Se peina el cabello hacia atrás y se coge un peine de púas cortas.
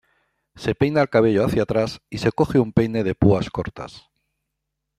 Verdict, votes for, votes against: accepted, 2, 1